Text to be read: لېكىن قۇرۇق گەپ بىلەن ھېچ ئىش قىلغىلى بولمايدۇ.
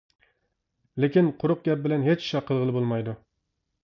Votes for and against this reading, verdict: 1, 2, rejected